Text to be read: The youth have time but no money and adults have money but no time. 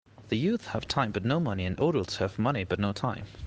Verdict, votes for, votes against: rejected, 0, 2